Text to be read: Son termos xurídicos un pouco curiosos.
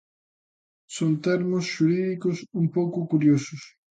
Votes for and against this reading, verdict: 2, 0, accepted